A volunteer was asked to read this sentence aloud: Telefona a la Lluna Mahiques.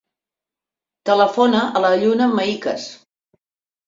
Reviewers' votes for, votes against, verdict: 2, 0, accepted